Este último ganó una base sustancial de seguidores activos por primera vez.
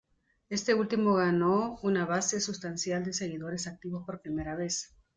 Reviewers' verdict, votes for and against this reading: accepted, 2, 1